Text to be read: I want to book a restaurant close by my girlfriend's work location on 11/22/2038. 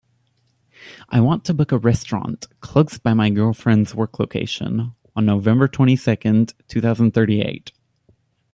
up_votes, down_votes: 0, 2